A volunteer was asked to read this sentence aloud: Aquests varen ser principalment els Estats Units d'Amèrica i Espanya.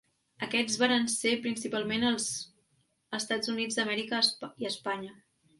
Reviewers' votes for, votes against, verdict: 1, 2, rejected